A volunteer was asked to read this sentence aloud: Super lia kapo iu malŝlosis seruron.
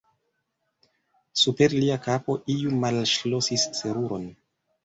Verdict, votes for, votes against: rejected, 1, 2